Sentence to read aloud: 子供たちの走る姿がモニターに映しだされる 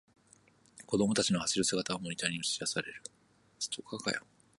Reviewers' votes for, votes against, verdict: 2, 0, accepted